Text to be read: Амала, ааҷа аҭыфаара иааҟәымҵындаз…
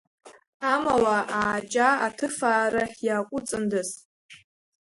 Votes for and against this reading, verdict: 2, 1, accepted